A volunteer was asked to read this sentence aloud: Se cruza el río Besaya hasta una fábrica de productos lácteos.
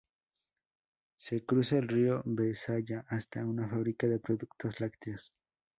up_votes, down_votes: 2, 0